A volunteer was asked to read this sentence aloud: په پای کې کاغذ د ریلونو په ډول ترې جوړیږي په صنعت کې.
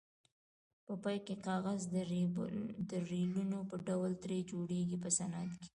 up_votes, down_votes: 2, 1